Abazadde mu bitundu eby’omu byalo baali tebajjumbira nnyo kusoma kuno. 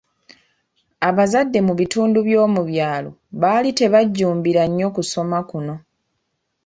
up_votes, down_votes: 1, 2